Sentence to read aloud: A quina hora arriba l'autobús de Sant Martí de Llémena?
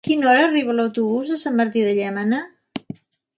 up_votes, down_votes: 2, 3